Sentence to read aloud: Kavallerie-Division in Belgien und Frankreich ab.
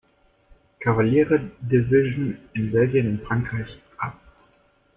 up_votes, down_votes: 0, 2